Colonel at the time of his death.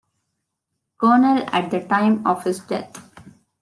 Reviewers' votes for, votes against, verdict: 2, 0, accepted